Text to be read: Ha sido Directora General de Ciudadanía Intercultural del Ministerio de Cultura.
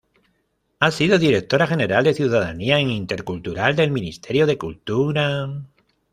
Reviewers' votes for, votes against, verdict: 1, 2, rejected